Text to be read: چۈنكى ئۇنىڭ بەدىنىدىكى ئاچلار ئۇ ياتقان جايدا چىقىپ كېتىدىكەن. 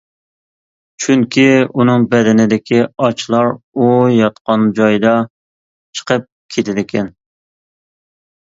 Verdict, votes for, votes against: accepted, 2, 0